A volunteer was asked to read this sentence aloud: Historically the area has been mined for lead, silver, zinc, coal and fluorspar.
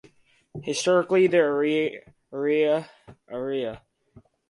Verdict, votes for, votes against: rejected, 0, 4